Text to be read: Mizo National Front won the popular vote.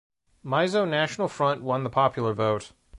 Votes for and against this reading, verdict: 2, 0, accepted